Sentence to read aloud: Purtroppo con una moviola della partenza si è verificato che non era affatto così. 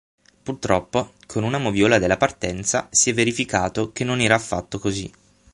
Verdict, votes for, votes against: accepted, 9, 0